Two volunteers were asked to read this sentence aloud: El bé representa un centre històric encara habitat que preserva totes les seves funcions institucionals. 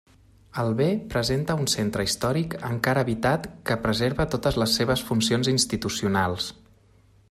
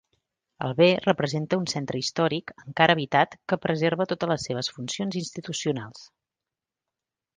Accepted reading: second